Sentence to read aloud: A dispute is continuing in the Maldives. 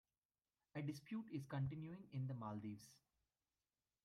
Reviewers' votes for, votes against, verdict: 1, 2, rejected